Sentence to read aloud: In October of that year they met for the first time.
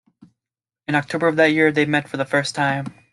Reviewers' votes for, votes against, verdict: 2, 1, accepted